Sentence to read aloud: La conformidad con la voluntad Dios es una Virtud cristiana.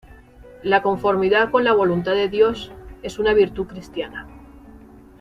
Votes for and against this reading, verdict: 0, 2, rejected